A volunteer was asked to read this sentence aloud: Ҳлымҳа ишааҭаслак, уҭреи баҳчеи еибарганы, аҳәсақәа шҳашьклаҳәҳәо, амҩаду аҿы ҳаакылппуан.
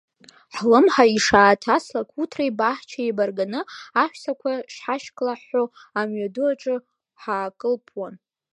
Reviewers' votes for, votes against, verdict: 2, 1, accepted